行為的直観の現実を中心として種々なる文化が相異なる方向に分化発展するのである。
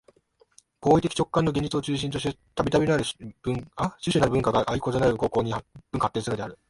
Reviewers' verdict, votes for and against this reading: rejected, 0, 2